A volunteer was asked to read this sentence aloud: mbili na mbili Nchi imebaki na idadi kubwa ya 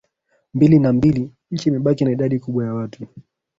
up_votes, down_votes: 1, 2